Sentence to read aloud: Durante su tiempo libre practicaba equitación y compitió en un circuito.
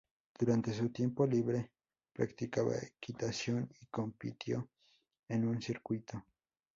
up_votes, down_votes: 4, 0